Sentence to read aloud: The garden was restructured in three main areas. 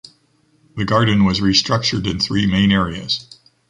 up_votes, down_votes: 2, 0